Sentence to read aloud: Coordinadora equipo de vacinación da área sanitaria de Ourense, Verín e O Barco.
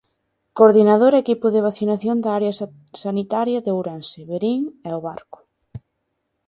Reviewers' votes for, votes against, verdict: 1, 2, rejected